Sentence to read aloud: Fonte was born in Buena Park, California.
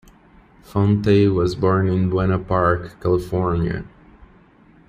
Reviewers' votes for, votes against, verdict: 2, 0, accepted